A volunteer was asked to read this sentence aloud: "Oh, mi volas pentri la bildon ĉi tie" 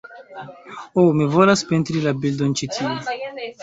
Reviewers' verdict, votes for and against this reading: accepted, 2, 0